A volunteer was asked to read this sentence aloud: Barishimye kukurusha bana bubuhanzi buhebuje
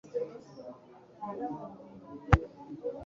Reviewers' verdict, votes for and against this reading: rejected, 1, 2